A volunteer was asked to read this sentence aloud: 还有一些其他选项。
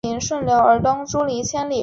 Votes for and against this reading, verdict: 1, 2, rejected